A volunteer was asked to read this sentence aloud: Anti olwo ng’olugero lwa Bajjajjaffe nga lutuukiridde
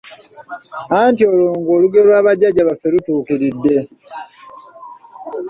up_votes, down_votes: 0, 2